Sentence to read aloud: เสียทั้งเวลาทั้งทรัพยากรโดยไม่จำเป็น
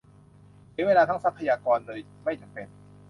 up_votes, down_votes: 0, 3